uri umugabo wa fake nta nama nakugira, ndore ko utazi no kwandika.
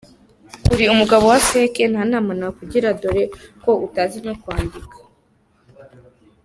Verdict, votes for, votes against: accepted, 2, 1